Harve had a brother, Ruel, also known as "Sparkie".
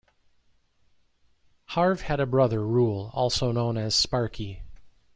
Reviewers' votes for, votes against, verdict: 2, 0, accepted